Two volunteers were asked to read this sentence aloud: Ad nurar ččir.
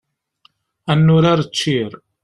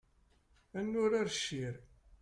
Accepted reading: first